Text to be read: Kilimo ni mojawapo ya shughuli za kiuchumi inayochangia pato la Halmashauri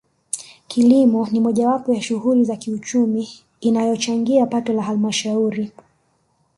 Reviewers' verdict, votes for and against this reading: rejected, 0, 2